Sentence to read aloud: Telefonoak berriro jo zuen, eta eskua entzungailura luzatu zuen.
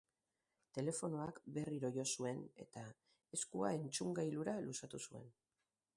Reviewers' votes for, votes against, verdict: 2, 0, accepted